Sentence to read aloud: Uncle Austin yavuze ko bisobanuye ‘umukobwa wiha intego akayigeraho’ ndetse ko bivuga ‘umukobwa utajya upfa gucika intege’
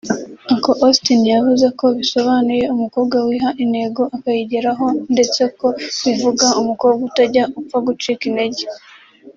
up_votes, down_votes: 3, 0